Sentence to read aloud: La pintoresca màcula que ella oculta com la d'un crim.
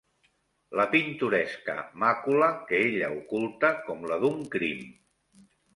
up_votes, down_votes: 3, 0